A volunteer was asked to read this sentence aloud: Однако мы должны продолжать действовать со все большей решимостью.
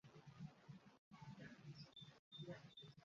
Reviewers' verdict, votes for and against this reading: rejected, 0, 2